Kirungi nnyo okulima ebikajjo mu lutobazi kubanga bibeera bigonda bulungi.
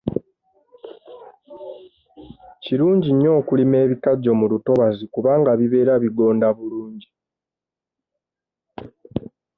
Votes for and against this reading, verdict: 2, 0, accepted